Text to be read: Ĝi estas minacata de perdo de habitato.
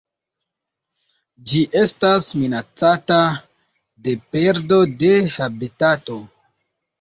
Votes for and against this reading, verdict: 2, 0, accepted